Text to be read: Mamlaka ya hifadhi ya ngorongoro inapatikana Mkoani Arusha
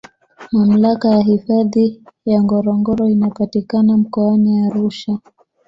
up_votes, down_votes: 1, 2